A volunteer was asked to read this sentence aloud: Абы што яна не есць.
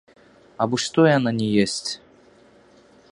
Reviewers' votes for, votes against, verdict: 2, 0, accepted